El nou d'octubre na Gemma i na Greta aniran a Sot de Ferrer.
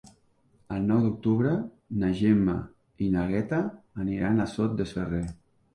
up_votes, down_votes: 0, 2